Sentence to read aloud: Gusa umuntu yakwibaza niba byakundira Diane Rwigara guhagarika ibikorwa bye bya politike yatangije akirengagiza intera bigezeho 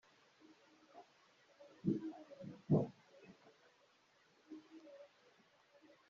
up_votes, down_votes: 0, 2